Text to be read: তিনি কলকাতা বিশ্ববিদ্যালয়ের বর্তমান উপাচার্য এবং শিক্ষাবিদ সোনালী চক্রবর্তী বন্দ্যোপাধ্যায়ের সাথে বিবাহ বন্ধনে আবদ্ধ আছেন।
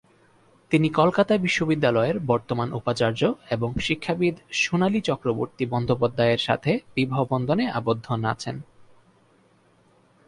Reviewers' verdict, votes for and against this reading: rejected, 6, 6